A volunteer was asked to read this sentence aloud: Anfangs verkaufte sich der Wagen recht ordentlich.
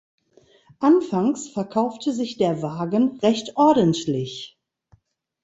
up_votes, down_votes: 2, 0